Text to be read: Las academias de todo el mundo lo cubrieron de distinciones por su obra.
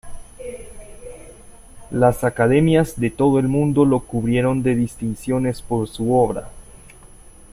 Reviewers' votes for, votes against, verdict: 2, 1, accepted